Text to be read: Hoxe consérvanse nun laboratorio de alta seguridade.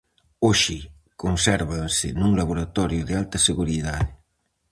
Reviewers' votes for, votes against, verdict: 2, 2, rejected